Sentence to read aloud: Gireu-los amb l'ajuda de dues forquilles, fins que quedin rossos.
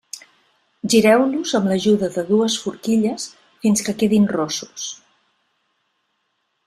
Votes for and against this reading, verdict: 3, 0, accepted